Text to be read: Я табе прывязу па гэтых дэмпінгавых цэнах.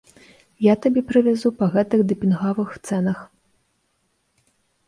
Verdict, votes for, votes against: rejected, 1, 2